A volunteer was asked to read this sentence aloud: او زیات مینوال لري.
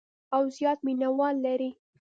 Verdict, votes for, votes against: rejected, 0, 2